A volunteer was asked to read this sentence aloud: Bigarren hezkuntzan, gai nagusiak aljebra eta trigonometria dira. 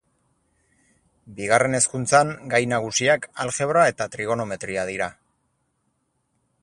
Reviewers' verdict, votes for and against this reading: accepted, 4, 0